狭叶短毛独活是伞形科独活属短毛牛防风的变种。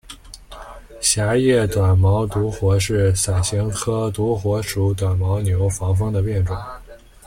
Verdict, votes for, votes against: accepted, 2, 0